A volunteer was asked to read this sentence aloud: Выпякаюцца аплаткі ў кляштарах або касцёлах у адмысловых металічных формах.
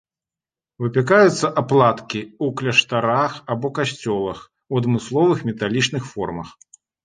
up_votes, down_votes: 2, 0